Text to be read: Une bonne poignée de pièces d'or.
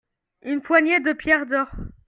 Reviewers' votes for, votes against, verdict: 1, 2, rejected